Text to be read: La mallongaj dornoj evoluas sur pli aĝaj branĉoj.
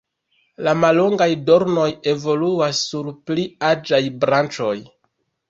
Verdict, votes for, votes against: rejected, 1, 2